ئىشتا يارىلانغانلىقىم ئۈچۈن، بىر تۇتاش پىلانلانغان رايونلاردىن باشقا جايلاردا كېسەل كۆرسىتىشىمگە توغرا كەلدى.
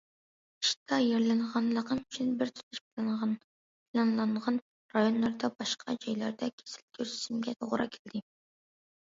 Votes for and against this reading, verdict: 0, 2, rejected